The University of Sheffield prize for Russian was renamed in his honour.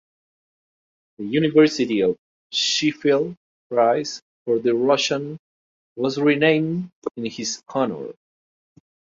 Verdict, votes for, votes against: rejected, 0, 2